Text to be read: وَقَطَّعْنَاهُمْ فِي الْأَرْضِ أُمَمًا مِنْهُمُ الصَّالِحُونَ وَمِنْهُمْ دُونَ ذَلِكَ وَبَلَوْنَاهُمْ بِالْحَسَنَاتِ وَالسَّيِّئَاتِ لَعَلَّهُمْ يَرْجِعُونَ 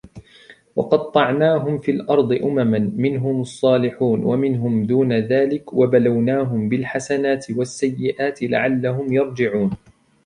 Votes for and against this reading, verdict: 2, 1, accepted